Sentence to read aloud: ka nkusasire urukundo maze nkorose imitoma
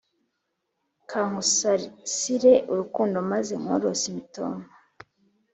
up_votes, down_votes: 2, 0